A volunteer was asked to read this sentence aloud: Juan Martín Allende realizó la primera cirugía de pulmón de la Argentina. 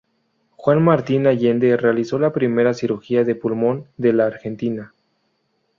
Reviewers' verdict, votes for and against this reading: accepted, 4, 0